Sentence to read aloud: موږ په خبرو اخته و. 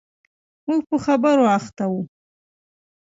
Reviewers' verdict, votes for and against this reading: accepted, 2, 0